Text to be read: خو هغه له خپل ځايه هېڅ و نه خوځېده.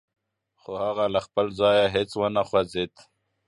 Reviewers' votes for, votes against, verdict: 2, 0, accepted